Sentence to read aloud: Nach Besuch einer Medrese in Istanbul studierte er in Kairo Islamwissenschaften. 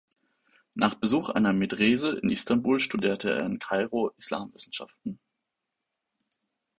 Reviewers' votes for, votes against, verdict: 2, 0, accepted